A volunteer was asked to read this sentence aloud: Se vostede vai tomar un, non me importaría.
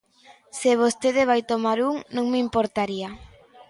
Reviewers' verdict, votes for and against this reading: accepted, 2, 0